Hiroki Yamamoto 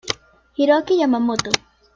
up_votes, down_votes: 2, 0